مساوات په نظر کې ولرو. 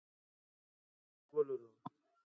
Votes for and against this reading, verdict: 0, 2, rejected